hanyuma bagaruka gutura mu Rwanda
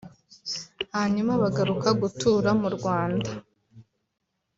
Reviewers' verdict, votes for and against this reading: accepted, 2, 0